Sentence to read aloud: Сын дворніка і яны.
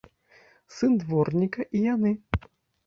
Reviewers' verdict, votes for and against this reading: accepted, 2, 0